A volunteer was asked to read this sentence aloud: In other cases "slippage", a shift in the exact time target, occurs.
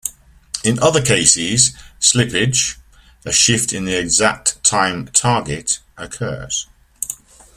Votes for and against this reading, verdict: 0, 2, rejected